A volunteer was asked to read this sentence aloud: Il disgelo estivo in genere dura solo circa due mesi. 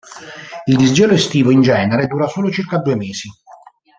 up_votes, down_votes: 2, 0